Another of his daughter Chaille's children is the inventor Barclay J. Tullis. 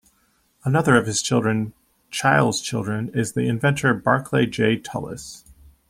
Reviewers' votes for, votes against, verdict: 1, 2, rejected